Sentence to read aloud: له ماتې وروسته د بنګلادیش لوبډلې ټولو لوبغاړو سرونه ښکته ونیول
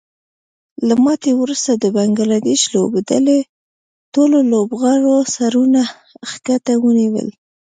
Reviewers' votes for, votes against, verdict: 2, 0, accepted